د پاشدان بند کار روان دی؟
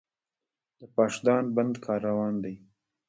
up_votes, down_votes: 1, 2